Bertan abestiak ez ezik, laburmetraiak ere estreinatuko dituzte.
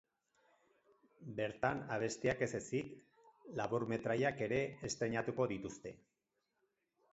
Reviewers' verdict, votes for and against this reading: accepted, 4, 0